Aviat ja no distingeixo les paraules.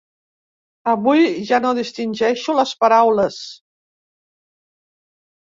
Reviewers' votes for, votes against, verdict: 1, 2, rejected